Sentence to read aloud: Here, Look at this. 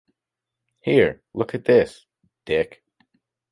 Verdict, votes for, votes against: rejected, 0, 2